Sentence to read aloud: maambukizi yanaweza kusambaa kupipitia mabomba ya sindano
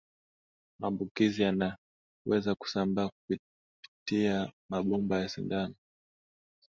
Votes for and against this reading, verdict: 2, 1, accepted